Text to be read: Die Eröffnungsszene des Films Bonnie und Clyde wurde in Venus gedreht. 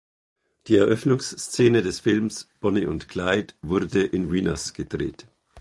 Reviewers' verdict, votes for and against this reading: accepted, 2, 0